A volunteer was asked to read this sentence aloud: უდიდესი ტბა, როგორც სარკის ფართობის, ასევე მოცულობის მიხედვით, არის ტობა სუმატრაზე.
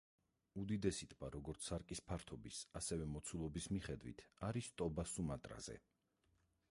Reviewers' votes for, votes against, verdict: 0, 4, rejected